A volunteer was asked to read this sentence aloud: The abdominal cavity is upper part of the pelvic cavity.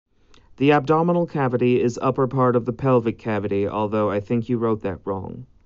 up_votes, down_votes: 0, 2